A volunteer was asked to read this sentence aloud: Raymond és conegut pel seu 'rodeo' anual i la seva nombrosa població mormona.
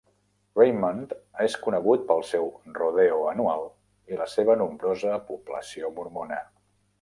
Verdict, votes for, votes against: accepted, 2, 0